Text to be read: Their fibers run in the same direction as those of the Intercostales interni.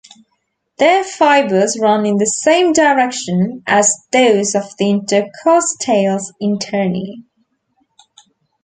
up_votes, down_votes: 2, 1